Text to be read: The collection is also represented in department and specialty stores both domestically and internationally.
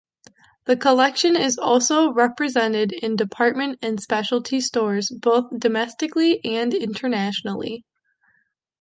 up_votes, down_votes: 2, 0